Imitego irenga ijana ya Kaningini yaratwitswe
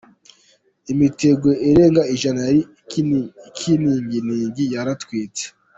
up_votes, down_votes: 1, 2